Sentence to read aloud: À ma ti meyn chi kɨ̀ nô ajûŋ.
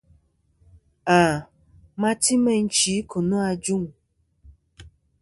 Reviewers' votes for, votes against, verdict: 2, 0, accepted